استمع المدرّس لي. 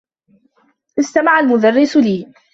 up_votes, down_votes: 2, 0